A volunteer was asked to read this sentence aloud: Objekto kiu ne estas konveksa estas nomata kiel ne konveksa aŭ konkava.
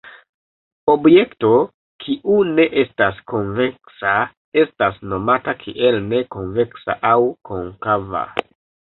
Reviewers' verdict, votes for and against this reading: accepted, 2, 0